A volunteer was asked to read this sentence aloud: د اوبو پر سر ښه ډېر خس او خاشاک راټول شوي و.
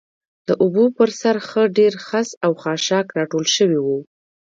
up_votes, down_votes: 2, 1